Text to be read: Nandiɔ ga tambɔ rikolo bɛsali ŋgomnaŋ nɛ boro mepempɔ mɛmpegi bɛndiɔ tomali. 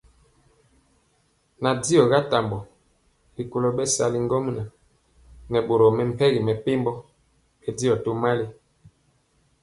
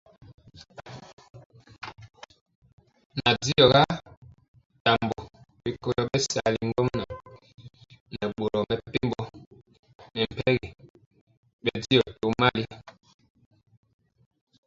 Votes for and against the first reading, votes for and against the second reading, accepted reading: 2, 0, 0, 2, first